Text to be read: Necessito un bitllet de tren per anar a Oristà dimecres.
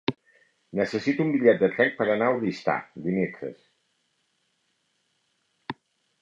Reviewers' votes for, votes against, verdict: 4, 0, accepted